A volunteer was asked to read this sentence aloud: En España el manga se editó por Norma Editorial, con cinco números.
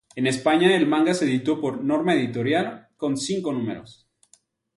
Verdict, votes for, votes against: accepted, 2, 0